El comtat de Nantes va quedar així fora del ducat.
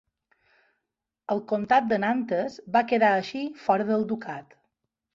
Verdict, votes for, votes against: accepted, 2, 0